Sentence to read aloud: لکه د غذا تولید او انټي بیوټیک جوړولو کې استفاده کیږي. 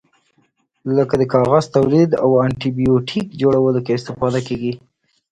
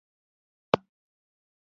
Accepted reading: first